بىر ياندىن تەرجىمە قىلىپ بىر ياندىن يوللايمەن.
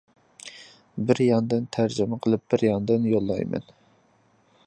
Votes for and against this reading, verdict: 2, 0, accepted